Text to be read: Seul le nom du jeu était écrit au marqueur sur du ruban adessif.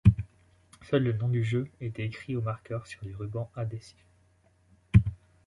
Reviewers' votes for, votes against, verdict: 2, 0, accepted